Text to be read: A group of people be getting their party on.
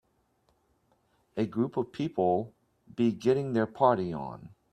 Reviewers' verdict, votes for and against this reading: accepted, 2, 0